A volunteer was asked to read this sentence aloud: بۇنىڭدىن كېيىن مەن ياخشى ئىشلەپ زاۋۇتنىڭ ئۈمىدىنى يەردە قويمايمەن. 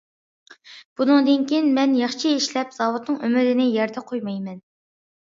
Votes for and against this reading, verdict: 2, 0, accepted